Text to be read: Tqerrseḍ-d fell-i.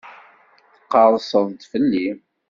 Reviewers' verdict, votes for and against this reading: accepted, 2, 0